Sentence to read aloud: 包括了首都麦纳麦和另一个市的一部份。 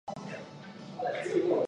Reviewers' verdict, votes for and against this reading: rejected, 0, 3